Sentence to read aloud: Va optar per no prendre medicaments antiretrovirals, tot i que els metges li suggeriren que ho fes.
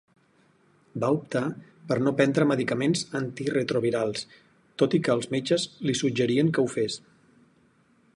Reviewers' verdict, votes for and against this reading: rejected, 2, 4